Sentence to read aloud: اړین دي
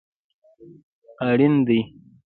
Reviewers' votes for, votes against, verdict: 2, 0, accepted